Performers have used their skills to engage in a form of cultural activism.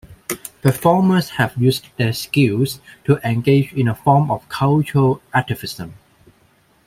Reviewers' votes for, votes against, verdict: 1, 2, rejected